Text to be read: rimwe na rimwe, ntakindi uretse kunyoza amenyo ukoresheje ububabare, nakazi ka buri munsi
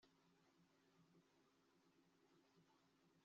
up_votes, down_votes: 0, 2